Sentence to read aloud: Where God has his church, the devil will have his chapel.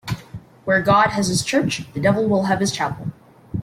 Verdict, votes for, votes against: rejected, 0, 2